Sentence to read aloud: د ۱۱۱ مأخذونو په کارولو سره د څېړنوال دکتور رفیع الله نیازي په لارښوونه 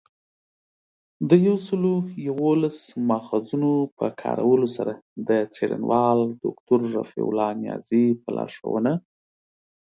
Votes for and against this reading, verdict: 0, 2, rejected